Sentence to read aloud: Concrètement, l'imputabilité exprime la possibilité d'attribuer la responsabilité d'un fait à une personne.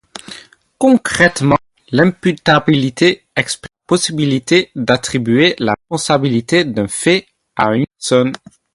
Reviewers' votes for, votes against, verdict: 2, 4, rejected